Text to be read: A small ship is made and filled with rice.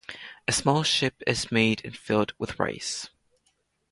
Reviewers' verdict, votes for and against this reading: accepted, 2, 0